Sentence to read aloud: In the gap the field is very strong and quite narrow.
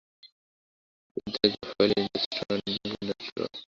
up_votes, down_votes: 0, 2